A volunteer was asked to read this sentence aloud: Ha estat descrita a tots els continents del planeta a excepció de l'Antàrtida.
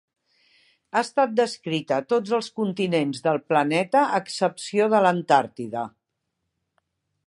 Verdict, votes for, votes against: accepted, 2, 0